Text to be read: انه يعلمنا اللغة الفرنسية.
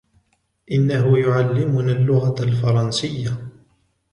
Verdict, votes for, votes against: rejected, 1, 2